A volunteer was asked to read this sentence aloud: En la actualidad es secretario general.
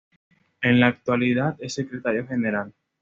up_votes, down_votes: 2, 0